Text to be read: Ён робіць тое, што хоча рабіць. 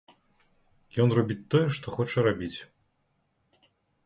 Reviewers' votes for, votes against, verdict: 2, 0, accepted